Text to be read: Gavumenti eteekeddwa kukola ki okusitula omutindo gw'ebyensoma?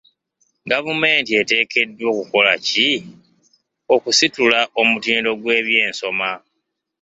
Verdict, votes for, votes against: accepted, 2, 0